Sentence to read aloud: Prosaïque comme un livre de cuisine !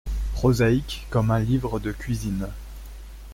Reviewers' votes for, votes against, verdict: 2, 0, accepted